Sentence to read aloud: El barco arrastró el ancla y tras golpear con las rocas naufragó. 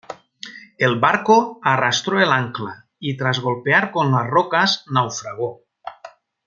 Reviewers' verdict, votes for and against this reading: accepted, 2, 0